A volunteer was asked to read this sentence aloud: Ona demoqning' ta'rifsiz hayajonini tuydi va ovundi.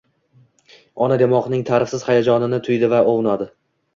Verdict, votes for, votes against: rejected, 1, 2